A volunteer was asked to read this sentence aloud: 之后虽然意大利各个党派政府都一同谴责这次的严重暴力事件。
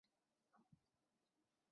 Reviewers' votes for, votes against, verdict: 1, 2, rejected